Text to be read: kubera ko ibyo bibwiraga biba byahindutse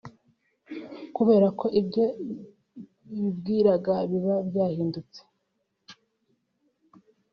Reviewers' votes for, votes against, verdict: 3, 2, accepted